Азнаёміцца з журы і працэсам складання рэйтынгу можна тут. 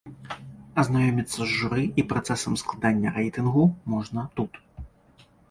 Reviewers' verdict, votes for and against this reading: accepted, 2, 0